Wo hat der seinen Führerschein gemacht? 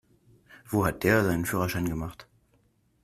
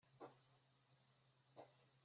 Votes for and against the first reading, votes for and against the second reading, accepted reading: 2, 0, 0, 2, first